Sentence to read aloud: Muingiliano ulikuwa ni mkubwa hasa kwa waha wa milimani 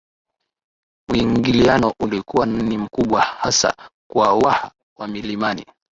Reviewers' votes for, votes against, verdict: 2, 0, accepted